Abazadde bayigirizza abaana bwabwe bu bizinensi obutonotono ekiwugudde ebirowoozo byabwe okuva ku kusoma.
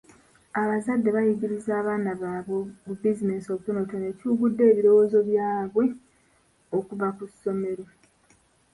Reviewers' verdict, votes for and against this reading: rejected, 0, 2